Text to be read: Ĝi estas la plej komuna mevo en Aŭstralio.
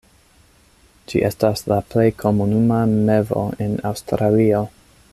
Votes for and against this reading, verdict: 0, 2, rejected